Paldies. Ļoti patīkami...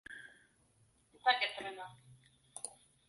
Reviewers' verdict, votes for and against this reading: rejected, 0, 2